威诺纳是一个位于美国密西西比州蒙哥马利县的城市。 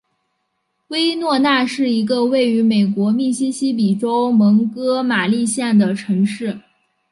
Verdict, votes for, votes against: accepted, 3, 0